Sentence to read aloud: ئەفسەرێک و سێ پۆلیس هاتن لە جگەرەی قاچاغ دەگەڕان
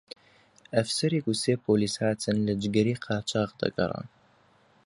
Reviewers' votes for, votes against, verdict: 2, 0, accepted